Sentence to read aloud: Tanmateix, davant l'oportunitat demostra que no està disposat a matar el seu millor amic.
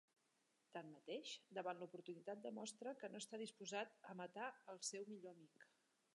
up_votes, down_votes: 2, 0